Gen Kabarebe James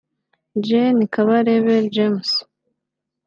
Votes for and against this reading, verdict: 2, 0, accepted